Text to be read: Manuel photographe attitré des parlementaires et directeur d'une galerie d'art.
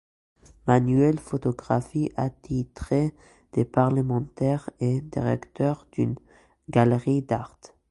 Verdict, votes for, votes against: accepted, 2, 1